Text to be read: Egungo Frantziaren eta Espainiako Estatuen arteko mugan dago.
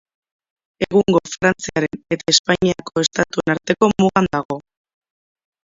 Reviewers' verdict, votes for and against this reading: rejected, 0, 3